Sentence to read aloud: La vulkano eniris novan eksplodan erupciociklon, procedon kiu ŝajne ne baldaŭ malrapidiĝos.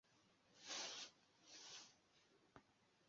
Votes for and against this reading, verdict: 1, 2, rejected